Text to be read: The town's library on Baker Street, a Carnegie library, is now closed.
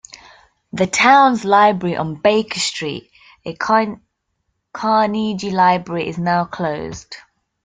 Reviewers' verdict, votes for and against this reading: rejected, 0, 2